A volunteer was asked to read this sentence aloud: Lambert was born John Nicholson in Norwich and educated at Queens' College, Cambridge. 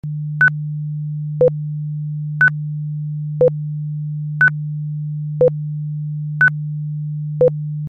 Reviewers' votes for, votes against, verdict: 0, 3, rejected